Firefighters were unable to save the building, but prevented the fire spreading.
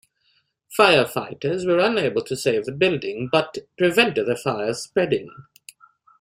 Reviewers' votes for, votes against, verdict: 2, 0, accepted